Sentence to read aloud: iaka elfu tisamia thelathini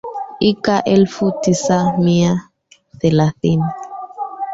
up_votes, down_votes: 0, 2